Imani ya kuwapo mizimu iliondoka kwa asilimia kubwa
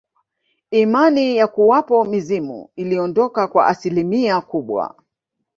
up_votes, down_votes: 1, 2